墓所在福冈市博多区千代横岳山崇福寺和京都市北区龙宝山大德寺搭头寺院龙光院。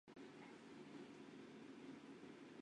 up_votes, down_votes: 2, 3